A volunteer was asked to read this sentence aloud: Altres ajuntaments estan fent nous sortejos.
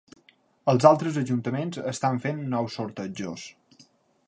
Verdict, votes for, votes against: rejected, 3, 6